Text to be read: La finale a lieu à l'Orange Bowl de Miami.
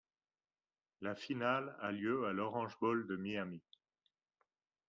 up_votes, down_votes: 2, 0